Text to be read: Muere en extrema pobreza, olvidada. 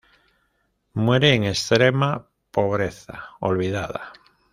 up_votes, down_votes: 2, 0